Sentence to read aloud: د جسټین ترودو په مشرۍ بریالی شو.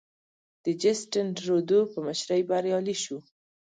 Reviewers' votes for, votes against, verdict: 1, 2, rejected